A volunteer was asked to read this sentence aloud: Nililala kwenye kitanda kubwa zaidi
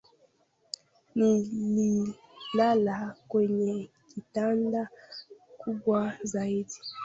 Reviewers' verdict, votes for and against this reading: rejected, 0, 2